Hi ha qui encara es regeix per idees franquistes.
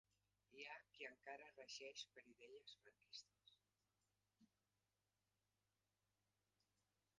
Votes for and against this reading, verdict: 0, 3, rejected